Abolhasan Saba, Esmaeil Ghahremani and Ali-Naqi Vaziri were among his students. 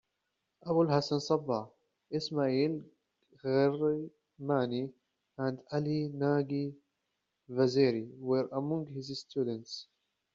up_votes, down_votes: 1, 2